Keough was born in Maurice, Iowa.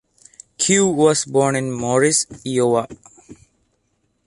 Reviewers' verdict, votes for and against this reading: accepted, 2, 0